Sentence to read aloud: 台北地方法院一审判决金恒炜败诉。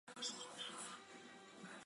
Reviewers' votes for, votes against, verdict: 3, 4, rejected